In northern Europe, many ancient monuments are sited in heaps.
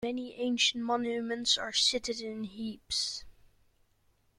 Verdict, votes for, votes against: rejected, 0, 2